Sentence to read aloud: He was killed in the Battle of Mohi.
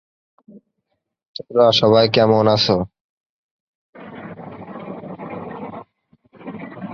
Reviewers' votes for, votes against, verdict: 0, 2, rejected